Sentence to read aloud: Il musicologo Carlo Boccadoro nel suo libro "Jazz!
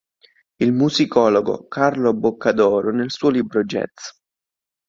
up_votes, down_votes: 1, 2